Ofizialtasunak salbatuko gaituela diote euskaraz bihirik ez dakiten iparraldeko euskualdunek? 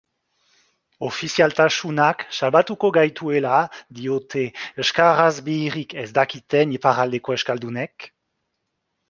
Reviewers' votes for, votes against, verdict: 2, 1, accepted